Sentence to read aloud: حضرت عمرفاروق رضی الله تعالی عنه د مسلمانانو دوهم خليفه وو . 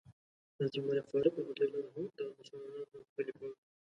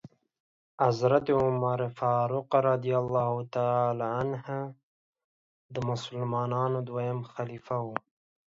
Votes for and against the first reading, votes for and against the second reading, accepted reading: 0, 2, 2, 1, second